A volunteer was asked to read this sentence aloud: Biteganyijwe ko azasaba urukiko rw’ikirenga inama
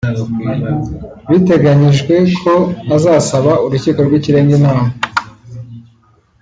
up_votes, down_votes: 2, 1